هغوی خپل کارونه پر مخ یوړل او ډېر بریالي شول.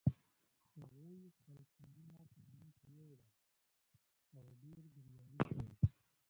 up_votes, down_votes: 0, 2